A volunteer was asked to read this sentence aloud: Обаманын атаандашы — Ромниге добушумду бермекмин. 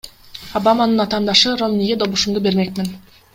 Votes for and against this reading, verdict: 1, 2, rejected